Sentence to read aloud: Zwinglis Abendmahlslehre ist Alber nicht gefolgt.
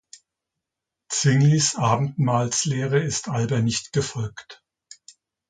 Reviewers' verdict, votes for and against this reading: rejected, 0, 2